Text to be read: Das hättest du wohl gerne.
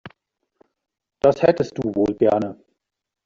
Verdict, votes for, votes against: accepted, 2, 0